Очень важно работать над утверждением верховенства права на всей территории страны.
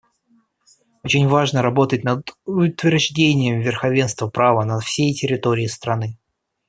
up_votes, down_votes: 0, 2